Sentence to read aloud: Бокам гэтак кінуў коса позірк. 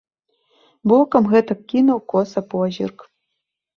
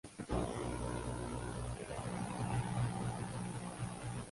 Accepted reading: first